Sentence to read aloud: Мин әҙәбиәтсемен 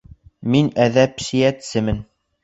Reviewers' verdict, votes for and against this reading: rejected, 1, 2